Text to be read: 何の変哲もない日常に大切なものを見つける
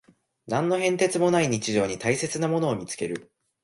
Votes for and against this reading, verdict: 2, 0, accepted